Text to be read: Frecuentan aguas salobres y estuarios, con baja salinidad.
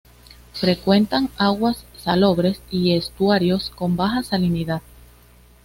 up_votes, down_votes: 2, 0